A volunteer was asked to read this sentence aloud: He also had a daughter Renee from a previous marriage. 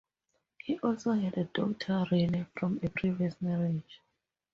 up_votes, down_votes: 2, 0